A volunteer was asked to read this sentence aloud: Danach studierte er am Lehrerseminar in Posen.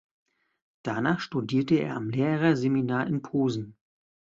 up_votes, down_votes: 2, 0